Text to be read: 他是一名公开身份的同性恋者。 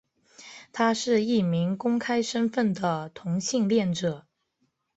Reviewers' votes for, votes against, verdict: 4, 0, accepted